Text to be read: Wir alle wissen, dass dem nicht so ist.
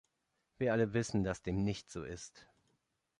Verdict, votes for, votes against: accepted, 2, 0